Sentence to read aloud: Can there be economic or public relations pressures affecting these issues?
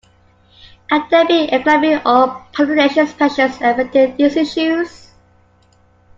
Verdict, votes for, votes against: rejected, 1, 2